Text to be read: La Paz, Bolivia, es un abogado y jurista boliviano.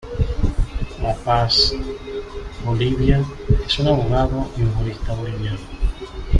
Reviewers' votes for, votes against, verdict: 2, 1, accepted